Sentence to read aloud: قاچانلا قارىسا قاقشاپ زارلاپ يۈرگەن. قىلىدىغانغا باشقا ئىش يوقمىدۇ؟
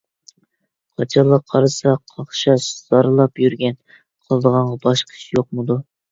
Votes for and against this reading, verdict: 1, 2, rejected